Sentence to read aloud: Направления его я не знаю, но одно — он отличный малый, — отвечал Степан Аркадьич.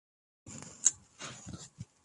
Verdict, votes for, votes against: rejected, 1, 2